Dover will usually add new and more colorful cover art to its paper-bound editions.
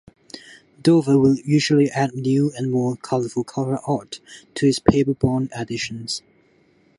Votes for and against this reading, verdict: 2, 0, accepted